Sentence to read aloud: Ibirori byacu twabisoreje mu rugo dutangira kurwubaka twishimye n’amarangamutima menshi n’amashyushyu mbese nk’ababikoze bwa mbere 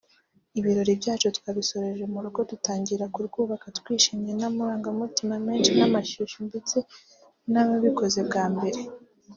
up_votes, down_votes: 1, 2